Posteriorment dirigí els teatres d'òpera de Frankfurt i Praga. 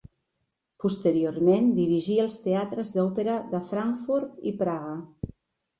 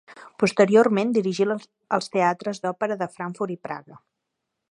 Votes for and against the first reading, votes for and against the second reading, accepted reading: 2, 0, 1, 2, first